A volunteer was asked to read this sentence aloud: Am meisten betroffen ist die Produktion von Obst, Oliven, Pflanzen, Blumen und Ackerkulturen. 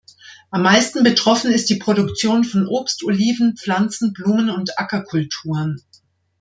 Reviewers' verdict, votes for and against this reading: accepted, 2, 0